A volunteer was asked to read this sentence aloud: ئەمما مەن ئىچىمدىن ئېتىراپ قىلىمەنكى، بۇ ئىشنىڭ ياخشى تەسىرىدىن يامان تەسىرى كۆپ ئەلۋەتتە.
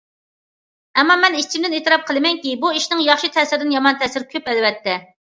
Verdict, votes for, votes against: accepted, 2, 0